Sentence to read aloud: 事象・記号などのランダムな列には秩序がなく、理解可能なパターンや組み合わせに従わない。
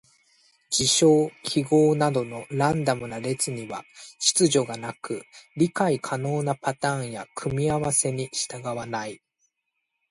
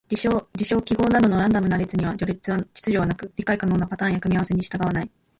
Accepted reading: first